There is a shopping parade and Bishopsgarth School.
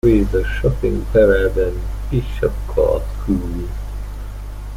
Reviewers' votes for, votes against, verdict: 0, 2, rejected